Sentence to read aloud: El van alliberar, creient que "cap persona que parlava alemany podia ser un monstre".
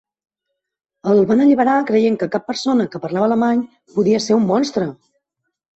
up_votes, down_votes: 1, 2